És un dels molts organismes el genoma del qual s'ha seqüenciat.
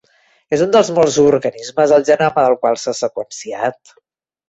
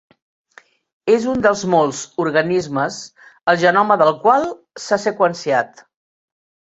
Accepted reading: second